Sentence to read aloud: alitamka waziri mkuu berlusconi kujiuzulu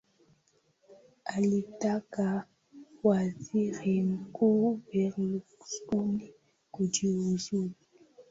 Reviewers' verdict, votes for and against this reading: accepted, 2, 1